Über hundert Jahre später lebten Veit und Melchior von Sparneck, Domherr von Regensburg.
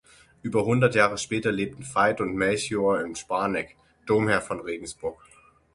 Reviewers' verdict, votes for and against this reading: rejected, 0, 6